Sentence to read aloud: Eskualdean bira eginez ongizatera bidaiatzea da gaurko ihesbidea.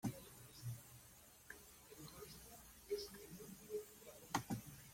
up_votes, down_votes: 0, 2